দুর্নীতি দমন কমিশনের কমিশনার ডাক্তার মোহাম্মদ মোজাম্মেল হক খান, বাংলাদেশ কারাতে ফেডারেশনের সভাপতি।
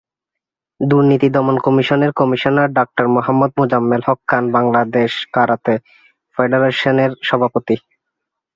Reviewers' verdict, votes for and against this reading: accepted, 2, 1